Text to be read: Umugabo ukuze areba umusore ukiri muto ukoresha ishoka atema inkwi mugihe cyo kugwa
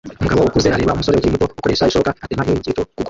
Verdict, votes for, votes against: rejected, 0, 2